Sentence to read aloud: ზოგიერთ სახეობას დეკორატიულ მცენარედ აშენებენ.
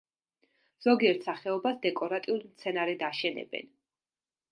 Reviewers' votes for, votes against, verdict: 2, 0, accepted